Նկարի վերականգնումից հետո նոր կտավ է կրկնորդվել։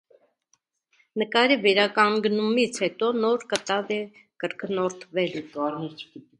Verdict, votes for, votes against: rejected, 1, 2